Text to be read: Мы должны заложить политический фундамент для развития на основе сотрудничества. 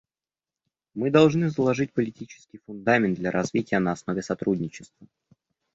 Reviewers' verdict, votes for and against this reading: accepted, 2, 0